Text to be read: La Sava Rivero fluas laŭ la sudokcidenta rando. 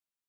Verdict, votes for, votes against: rejected, 1, 2